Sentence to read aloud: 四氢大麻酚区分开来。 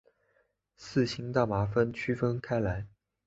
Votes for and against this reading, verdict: 2, 1, accepted